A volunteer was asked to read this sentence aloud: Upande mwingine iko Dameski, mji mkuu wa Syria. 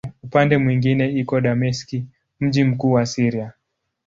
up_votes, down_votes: 2, 0